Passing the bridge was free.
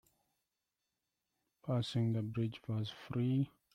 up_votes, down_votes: 2, 1